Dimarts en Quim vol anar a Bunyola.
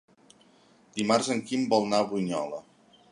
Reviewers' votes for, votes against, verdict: 0, 2, rejected